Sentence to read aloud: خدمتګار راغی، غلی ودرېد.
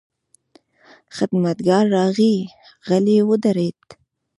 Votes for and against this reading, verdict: 1, 2, rejected